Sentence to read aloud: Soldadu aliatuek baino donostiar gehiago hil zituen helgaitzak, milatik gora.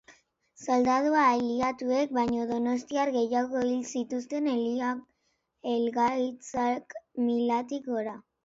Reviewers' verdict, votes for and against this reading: rejected, 1, 2